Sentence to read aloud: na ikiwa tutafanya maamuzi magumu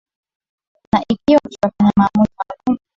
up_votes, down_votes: 0, 3